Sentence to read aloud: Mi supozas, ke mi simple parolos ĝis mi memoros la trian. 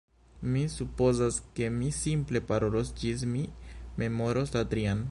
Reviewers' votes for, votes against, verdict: 1, 2, rejected